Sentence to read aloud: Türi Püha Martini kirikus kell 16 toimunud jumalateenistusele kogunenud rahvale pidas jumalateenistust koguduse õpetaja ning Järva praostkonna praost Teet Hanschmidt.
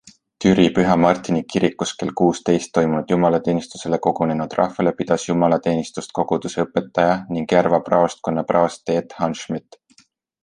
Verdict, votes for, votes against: rejected, 0, 2